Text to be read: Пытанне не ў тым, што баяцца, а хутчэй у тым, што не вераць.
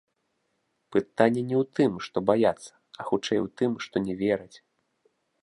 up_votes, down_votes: 2, 0